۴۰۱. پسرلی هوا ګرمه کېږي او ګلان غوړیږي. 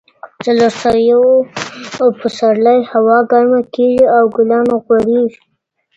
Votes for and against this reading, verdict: 0, 2, rejected